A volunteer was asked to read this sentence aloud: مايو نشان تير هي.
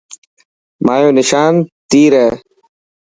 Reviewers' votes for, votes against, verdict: 2, 0, accepted